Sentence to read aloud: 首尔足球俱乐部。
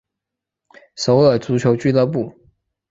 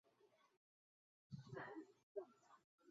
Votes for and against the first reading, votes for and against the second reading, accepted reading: 4, 0, 0, 2, first